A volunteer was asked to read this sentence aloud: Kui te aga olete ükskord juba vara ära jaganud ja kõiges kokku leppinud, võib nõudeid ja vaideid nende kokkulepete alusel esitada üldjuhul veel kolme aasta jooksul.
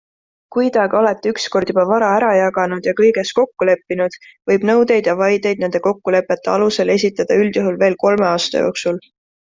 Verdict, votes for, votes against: accepted, 2, 0